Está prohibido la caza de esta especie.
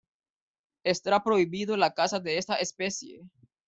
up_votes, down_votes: 0, 2